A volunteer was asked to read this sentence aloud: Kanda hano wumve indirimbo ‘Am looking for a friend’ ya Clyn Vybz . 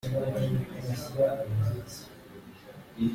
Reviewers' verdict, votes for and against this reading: rejected, 0, 2